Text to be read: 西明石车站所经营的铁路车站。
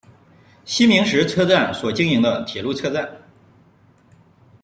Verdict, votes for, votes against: rejected, 1, 2